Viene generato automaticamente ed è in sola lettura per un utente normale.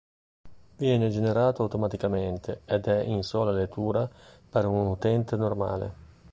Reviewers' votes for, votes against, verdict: 3, 1, accepted